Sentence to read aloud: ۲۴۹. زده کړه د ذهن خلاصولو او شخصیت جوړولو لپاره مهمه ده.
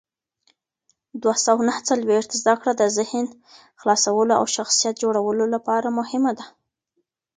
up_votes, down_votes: 0, 2